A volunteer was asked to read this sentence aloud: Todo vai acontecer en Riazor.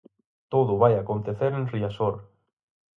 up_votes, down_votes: 4, 0